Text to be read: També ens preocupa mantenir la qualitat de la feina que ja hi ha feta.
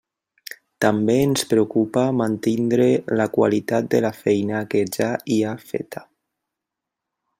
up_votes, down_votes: 1, 2